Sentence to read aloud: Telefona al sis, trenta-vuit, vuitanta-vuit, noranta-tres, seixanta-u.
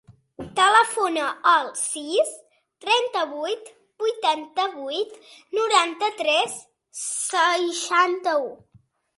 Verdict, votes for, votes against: accepted, 3, 0